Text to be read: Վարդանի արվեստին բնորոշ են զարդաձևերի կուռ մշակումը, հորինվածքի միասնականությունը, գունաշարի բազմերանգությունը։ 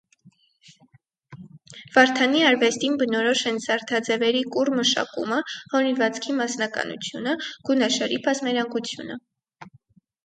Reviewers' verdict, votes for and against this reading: rejected, 2, 4